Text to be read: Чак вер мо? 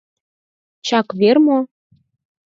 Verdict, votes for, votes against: accepted, 4, 0